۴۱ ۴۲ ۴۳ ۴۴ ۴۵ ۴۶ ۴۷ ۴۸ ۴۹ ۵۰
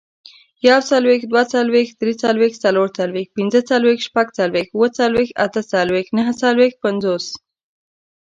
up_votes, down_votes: 0, 2